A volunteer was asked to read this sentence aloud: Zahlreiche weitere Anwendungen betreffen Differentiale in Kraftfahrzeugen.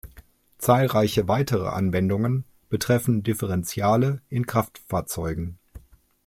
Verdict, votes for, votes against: accepted, 2, 0